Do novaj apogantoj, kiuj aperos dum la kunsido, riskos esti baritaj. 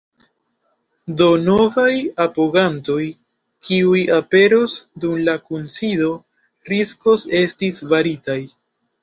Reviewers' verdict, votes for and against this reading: rejected, 1, 2